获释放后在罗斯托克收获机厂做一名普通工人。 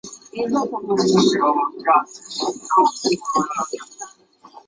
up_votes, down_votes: 4, 9